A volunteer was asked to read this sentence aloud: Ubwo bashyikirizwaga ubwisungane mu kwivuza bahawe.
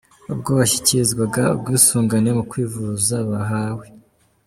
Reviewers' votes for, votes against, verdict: 2, 0, accepted